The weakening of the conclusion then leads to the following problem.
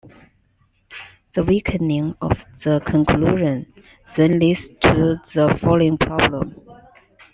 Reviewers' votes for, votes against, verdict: 0, 2, rejected